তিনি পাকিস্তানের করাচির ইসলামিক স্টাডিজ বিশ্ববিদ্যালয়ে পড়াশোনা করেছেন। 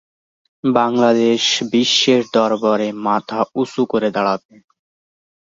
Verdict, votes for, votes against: rejected, 0, 3